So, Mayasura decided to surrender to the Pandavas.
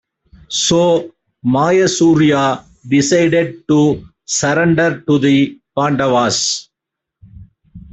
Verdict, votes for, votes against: rejected, 0, 2